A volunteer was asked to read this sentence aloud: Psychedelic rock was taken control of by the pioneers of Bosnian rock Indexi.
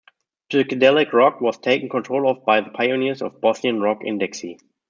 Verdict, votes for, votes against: accepted, 2, 1